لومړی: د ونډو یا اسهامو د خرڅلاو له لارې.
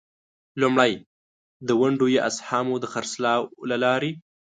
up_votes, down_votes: 2, 0